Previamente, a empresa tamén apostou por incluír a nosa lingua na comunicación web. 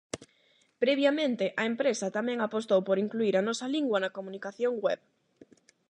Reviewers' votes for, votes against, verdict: 8, 0, accepted